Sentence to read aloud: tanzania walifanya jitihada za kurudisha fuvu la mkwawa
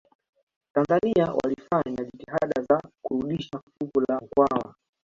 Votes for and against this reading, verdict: 2, 0, accepted